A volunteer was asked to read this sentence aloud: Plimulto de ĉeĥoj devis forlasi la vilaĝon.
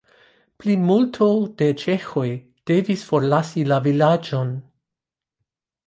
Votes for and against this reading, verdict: 2, 0, accepted